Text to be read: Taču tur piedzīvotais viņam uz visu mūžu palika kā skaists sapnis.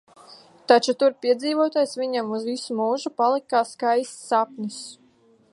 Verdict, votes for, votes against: rejected, 1, 2